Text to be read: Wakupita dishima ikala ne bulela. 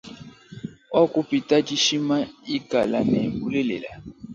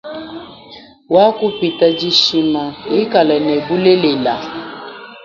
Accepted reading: first